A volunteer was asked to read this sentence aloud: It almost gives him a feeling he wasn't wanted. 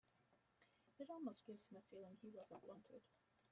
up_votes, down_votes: 0, 2